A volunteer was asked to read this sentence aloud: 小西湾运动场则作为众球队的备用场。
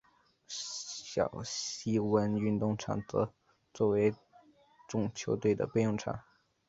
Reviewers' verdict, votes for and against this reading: accepted, 5, 0